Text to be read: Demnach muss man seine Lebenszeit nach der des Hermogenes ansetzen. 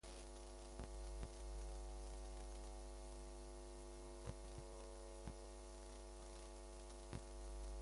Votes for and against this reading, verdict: 0, 2, rejected